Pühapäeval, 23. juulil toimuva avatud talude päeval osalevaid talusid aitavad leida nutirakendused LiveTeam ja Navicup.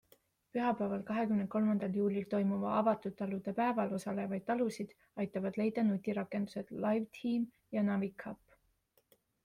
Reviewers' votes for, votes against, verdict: 0, 2, rejected